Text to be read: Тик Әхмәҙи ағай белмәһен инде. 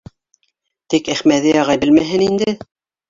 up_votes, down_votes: 1, 2